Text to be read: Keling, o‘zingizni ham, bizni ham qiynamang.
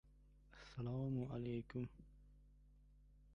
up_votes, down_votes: 0, 2